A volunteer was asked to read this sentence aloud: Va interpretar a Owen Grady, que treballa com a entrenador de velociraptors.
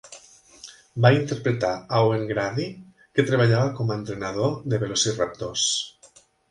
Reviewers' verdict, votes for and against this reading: rejected, 1, 3